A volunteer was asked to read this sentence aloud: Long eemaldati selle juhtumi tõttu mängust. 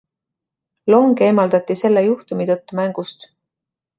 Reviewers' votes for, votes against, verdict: 2, 0, accepted